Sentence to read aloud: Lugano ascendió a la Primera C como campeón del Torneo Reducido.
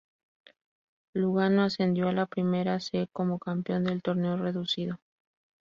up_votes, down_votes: 4, 0